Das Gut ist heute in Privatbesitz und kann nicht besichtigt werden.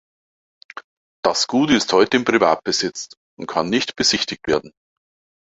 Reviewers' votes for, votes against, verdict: 2, 1, accepted